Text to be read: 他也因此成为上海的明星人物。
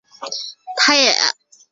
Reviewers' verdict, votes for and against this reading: rejected, 1, 5